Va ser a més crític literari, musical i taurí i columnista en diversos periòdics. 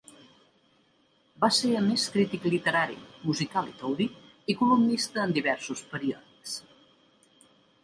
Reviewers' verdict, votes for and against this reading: accepted, 2, 0